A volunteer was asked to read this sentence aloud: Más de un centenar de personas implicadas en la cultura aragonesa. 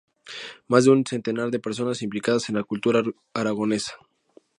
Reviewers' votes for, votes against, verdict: 2, 0, accepted